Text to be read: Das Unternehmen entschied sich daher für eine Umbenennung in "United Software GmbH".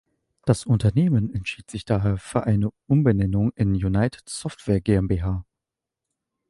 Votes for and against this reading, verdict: 2, 0, accepted